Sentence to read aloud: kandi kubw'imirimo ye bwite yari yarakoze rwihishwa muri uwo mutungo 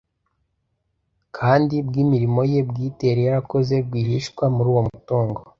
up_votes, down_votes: 0, 2